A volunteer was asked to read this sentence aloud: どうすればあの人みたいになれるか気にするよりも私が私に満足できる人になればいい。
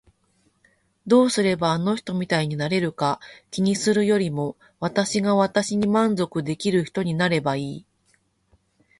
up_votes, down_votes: 0, 2